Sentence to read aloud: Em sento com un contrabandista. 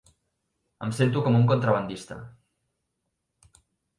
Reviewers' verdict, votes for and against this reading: accepted, 3, 0